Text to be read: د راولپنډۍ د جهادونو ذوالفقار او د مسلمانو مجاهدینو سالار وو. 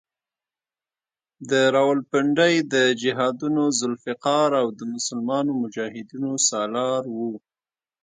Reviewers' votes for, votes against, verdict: 1, 2, rejected